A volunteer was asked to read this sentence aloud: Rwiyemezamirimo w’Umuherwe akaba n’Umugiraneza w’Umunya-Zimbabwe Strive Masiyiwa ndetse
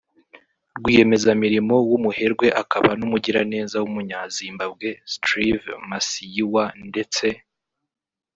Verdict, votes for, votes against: rejected, 0, 2